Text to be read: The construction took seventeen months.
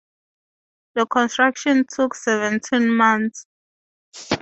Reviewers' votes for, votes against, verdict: 2, 0, accepted